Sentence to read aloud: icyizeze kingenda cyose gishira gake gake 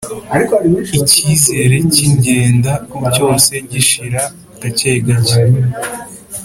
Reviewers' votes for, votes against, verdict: 0, 2, rejected